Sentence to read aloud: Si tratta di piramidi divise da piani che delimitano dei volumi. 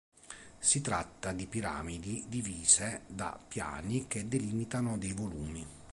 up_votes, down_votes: 6, 1